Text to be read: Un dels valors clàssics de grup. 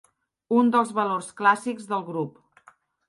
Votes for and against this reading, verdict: 2, 1, accepted